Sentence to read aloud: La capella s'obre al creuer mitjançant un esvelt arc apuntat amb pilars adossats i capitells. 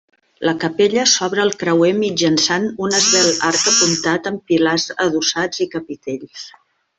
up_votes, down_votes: 0, 2